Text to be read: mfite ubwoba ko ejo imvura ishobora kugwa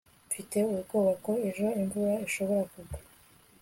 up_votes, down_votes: 3, 0